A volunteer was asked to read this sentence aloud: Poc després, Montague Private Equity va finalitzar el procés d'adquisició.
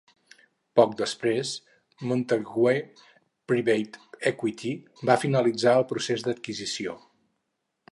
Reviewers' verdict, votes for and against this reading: accepted, 2, 0